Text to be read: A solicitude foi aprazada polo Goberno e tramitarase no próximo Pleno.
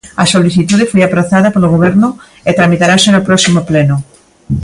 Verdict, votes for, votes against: accepted, 2, 0